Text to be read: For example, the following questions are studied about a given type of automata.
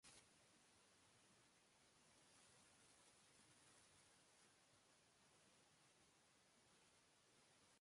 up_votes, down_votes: 0, 2